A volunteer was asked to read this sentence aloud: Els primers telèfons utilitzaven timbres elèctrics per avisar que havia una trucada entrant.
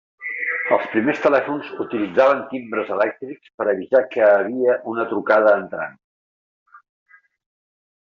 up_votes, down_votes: 0, 2